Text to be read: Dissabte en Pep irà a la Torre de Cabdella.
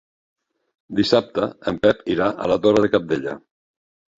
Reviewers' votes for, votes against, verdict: 3, 0, accepted